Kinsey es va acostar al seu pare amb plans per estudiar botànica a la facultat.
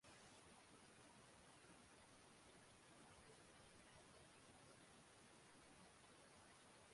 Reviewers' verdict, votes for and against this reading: rejected, 0, 2